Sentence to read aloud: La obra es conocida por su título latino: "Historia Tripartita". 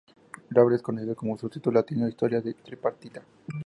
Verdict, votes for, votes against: rejected, 2, 4